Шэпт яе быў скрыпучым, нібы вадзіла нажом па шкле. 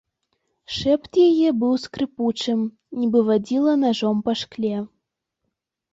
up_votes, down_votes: 2, 0